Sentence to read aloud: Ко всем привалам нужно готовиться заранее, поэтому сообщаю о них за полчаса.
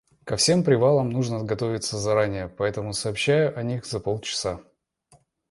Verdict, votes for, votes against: accepted, 2, 0